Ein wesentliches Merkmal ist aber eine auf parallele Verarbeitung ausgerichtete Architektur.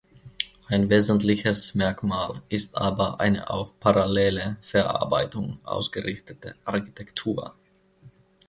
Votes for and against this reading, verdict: 2, 0, accepted